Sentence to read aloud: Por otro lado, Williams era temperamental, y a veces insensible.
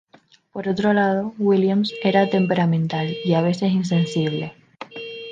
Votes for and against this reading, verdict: 2, 4, rejected